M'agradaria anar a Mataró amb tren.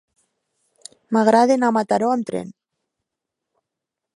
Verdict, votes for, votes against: rejected, 1, 2